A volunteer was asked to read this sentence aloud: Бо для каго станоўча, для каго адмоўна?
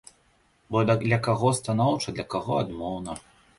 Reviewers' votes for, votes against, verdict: 1, 2, rejected